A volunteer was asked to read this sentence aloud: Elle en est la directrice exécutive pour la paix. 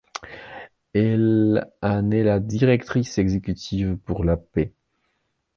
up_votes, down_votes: 2, 0